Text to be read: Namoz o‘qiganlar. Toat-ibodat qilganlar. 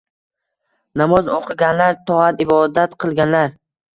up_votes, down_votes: 2, 0